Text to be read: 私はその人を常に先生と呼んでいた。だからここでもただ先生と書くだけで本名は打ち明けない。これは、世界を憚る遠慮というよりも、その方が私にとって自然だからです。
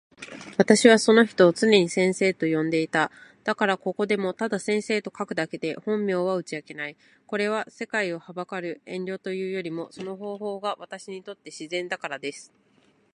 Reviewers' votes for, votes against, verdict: 1, 2, rejected